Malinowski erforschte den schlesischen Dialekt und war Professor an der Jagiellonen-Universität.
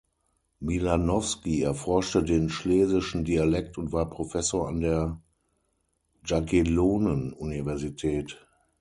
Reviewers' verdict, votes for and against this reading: rejected, 0, 6